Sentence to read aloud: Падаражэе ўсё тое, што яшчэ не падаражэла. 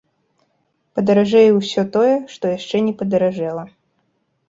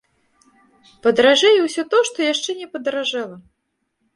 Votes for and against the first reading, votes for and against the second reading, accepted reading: 2, 0, 1, 2, first